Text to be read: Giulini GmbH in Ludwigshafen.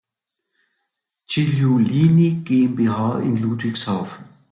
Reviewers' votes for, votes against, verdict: 2, 0, accepted